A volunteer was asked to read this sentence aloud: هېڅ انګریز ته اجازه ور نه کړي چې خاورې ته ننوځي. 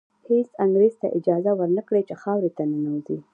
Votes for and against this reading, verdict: 1, 2, rejected